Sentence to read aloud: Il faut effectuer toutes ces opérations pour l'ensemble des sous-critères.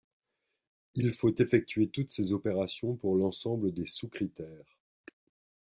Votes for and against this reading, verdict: 2, 0, accepted